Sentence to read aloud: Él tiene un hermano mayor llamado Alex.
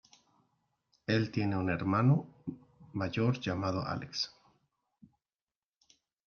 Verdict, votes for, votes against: accepted, 2, 0